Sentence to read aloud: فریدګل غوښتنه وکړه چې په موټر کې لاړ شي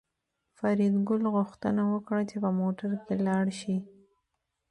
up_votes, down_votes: 2, 1